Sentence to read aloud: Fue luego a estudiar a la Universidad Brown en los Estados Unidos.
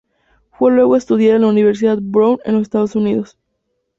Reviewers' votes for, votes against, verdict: 2, 0, accepted